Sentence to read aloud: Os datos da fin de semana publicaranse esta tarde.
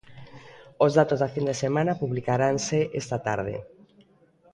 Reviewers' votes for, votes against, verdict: 2, 0, accepted